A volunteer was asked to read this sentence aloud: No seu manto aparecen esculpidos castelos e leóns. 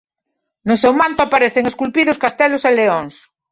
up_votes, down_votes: 2, 0